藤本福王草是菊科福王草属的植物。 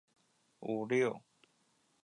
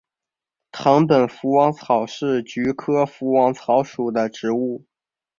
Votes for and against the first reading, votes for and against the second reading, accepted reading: 1, 2, 2, 0, second